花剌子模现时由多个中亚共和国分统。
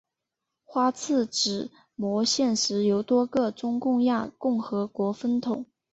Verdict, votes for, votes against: rejected, 0, 2